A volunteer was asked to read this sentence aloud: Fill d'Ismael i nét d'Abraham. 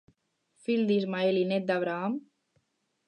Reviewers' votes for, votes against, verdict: 0, 4, rejected